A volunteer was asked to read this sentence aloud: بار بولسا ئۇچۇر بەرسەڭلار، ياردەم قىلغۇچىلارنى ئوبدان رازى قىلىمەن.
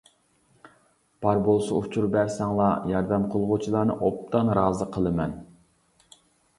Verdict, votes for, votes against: accepted, 2, 0